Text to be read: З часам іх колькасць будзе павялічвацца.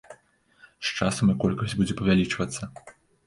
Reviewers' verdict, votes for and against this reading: accepted, 2, 1